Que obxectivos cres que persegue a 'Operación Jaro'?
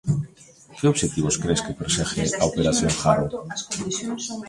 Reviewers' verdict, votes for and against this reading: accepted, 2, 1